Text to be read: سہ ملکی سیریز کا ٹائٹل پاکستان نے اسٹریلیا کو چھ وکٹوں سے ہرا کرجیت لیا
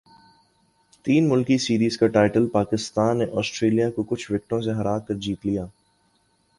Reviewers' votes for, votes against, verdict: 3, 2, accepted